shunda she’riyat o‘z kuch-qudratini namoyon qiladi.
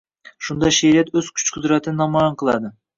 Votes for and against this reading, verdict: 1, 2, rejected